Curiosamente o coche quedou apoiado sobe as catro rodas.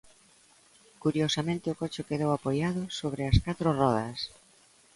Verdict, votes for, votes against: accepted, 2, 0